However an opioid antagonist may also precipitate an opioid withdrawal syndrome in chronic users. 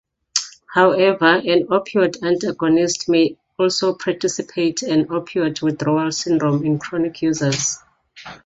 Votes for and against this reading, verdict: 0, 2, rejected